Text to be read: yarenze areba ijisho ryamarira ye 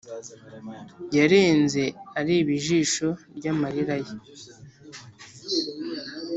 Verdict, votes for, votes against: accepted, 2, 0